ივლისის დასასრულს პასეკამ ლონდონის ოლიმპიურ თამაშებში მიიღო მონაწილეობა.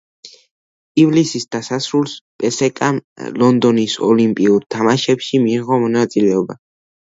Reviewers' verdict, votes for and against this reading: rejected, 1, 2